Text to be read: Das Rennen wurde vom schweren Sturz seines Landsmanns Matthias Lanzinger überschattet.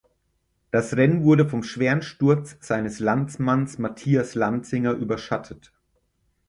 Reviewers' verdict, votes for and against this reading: accepted, 6, 0